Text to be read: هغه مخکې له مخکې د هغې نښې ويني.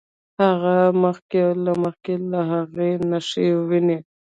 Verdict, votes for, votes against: rejected, 1, 2